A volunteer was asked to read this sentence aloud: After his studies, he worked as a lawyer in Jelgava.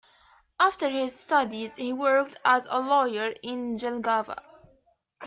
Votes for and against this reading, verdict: 1, 2, rejected